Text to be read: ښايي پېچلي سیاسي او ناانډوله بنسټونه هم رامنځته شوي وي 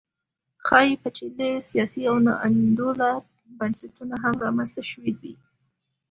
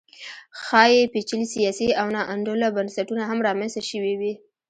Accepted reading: first